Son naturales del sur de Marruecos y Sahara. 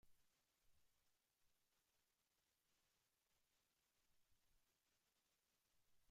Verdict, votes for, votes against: rejected, 0, 2